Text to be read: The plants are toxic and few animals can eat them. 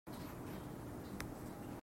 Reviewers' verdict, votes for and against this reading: rejected, 0, 2